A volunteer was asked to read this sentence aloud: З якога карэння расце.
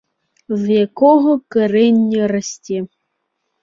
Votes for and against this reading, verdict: 2, 0, accepted